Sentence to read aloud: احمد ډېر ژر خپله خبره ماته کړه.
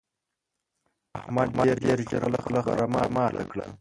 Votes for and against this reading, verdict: 0, 2, rejected